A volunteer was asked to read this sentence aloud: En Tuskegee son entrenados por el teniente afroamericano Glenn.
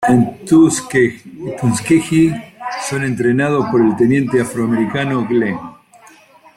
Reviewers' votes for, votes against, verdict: 0, 2, rejected